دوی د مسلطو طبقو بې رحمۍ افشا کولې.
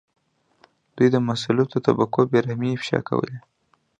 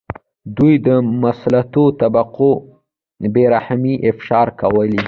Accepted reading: first